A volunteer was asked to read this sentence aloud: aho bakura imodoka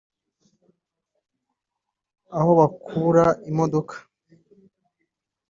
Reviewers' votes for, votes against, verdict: 1, 2, rejected